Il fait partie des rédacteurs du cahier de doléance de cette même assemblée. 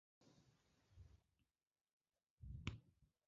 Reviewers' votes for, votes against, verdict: 0, 2, rejected